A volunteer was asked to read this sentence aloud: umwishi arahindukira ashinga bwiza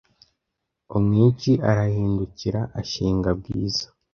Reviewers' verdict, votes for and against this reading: rejected, 1, 2